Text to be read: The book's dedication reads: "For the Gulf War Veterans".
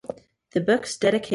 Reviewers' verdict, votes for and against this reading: rejected, 0, 2